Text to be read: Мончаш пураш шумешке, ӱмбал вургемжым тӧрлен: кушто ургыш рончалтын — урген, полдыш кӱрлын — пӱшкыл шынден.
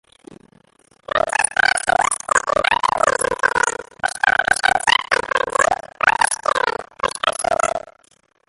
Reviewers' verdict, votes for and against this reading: rejected, 0, 2